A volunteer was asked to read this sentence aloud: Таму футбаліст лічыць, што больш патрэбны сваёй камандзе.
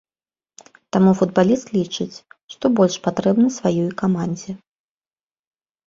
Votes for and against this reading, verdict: 2, 0, accepted